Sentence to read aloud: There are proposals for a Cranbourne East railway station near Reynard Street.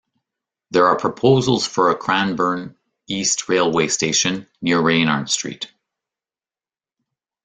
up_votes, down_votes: 2, 0